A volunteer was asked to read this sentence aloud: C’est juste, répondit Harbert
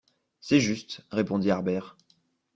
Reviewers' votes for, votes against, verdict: 2, 0, accepted